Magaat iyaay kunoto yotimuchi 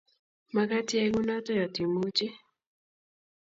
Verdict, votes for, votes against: accepted, 2, 0